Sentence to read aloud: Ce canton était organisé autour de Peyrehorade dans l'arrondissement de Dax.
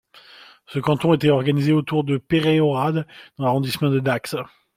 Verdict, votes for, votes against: accepted, 2, 0